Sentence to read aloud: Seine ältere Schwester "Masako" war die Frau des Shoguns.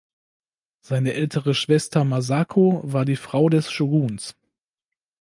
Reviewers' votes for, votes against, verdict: 2, 0, accepted